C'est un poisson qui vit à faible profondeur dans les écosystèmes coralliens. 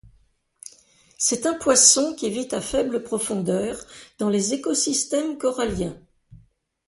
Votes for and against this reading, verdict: 2, 0, accepted